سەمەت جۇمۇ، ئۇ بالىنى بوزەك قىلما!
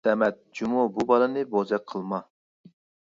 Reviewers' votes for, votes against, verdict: 1, 2, rejected